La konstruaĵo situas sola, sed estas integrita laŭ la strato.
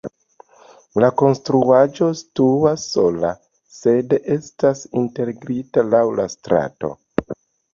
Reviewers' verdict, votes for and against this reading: accepted, 2, 1